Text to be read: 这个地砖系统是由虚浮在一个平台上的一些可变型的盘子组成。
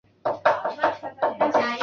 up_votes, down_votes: 0, 3